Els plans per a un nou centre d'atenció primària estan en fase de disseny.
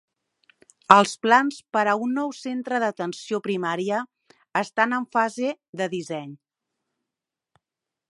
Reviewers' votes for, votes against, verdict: 0, 2, rejected